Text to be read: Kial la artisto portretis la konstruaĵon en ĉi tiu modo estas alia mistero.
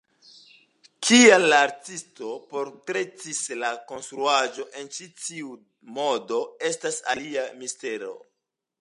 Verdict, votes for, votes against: accepted, 2, 0